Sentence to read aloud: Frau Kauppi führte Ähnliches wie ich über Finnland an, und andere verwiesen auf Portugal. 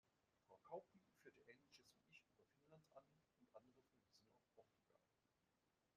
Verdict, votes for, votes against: rejected, 0, 2